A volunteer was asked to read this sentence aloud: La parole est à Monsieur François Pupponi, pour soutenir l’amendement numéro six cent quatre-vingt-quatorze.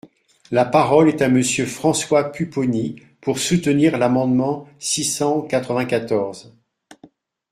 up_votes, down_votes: 0, 2